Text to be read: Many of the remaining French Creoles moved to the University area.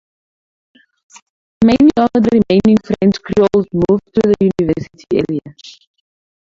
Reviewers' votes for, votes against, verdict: 0, 2, rejected